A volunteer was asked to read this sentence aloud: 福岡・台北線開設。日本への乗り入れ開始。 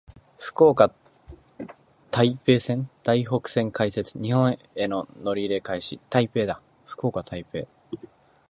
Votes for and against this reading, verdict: 0, 2, rejected